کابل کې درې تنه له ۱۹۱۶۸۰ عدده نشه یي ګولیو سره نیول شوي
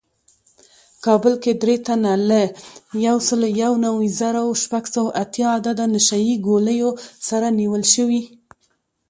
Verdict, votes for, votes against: rejected, 0, 2